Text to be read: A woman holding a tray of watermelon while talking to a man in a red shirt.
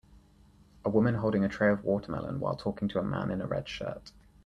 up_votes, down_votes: 4, 0